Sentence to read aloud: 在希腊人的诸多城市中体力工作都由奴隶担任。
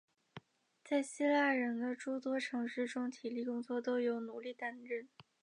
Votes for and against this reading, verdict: 0, 2, rejected